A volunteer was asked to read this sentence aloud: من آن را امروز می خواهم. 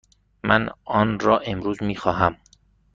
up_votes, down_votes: 2, 0